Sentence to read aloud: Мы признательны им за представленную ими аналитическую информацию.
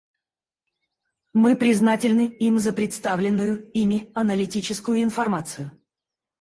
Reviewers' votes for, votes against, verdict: 2, 4, rejected